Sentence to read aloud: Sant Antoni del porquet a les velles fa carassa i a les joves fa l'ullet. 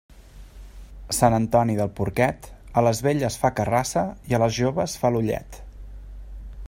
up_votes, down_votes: 1, 2